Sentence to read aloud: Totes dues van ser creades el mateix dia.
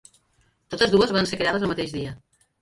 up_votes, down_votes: 2, 1